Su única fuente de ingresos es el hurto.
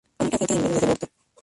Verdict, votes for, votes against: rejected, 0, 2